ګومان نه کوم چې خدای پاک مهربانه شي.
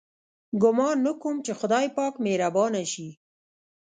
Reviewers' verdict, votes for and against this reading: rejected, 1, 2